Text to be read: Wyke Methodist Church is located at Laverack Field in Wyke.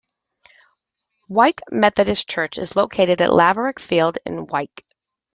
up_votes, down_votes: 2, 0